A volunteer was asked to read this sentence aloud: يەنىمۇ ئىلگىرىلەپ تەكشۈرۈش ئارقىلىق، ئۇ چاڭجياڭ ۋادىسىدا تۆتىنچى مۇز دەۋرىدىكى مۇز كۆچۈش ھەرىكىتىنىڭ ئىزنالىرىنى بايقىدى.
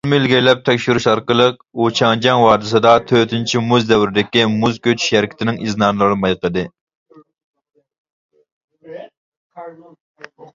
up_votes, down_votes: 0, 2